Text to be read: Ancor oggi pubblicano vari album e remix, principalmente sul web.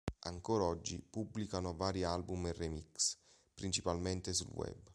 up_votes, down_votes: 2, 0